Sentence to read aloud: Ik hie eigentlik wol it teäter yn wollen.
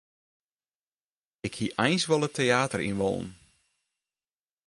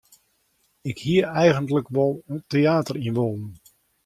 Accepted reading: second